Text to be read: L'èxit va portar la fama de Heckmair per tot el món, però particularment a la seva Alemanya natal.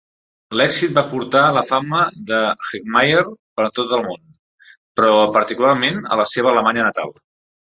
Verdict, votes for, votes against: rejected, 1, 2